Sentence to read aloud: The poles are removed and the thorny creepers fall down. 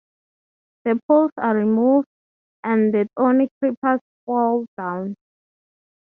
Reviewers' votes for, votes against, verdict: 0, 6, rejected